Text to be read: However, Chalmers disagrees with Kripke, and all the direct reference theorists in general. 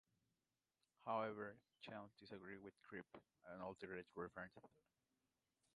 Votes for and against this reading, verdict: 0, 2, rejected